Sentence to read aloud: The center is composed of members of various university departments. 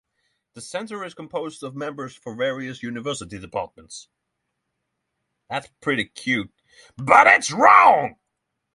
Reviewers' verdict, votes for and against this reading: rejected, 0, 3